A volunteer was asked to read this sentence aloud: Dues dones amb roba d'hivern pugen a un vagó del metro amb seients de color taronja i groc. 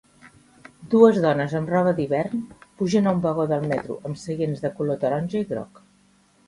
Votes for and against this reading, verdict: 2, 0, accepted